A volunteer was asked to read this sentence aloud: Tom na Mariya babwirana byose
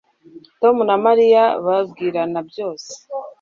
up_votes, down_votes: 2, 0